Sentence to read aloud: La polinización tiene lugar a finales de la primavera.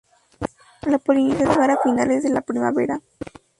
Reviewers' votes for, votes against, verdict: 0, 2, rejected